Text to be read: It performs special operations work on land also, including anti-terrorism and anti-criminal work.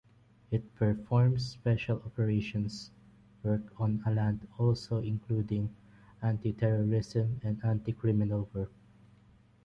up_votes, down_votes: 3, 0